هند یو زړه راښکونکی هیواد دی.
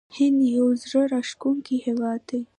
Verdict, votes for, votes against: accepted, 2, 0